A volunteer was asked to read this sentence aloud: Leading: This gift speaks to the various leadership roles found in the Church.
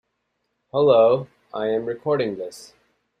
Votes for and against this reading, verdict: 0, 2, rejected